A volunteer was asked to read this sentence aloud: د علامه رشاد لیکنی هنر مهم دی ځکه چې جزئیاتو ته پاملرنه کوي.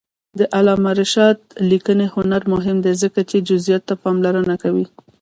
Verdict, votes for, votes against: rejected, 1, 2